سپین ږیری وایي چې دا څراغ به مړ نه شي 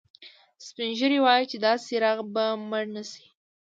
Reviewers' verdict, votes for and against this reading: accepted, 2, 0